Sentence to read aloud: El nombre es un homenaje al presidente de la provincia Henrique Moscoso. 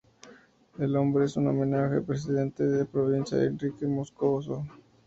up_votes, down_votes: 2, 2